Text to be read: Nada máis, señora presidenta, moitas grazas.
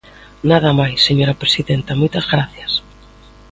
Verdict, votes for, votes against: rejected, 1, 2